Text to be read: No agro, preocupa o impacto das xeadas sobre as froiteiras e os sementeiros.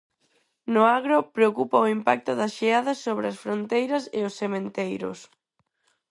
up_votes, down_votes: 2, 2